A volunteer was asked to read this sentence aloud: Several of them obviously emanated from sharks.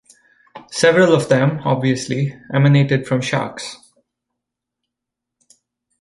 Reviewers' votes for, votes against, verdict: 2, 0, accepted